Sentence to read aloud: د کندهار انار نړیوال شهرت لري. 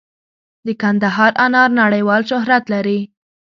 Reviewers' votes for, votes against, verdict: 2, 0, accepted